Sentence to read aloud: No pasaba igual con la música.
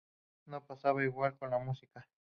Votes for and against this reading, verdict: 2, 2, rejected